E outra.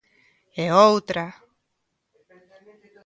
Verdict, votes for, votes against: rejected, 1, 2